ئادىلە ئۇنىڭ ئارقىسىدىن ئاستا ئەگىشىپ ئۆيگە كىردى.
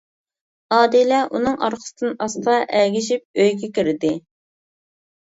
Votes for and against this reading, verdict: 2, 0, accepted